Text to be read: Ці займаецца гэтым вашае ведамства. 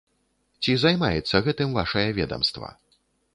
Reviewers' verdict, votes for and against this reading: accepted, 2, 0